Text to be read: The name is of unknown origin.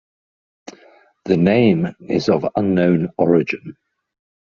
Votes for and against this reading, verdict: 2, 0, accepted